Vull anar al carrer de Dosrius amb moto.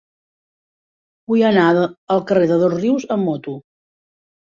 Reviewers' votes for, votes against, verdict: 2, 1, accepted